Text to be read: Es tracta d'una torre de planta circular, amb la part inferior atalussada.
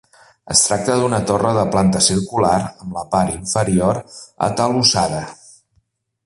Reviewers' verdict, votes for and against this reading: accepted, 2, 0